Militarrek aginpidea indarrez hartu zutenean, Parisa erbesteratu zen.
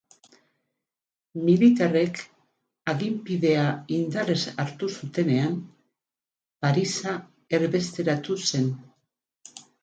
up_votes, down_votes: 2, 6